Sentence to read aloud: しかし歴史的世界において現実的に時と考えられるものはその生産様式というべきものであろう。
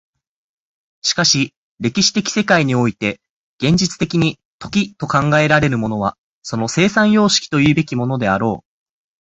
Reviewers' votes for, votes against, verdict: 4, 2, accepted